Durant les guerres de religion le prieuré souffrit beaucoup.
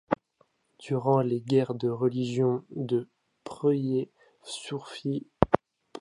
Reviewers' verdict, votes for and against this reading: rejected, 0, 2